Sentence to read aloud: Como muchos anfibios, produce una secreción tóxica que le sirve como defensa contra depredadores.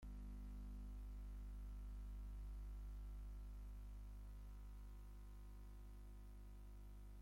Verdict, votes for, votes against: rejected, 0, 2